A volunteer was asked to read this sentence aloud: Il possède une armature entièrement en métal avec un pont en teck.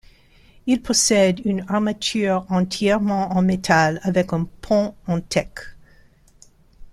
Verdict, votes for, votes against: accepted, 2, 1